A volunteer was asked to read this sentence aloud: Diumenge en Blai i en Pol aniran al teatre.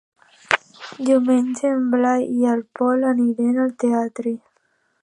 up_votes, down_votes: 1, 2